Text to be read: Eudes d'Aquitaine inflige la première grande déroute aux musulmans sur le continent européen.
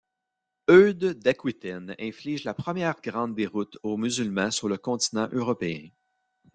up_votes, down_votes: 0, 2